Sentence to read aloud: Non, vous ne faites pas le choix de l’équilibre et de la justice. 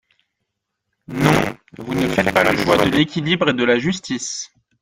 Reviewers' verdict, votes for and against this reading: rejected, 1, 2